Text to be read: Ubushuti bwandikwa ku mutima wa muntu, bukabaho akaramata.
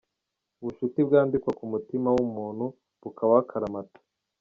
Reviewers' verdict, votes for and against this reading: rejected, 0, 2